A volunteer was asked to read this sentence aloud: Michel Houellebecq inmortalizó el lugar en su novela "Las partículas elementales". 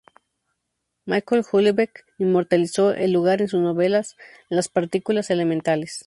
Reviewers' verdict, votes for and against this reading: accepted, 2, 0